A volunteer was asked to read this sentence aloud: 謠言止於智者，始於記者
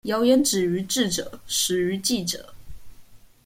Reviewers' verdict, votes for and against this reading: accepted, 2, 0